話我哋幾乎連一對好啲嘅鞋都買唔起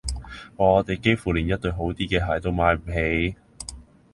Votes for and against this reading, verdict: 1, 2, rejected